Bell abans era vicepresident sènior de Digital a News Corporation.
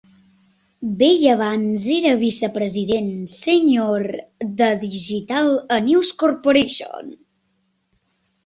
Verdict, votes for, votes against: accepted, 2, 0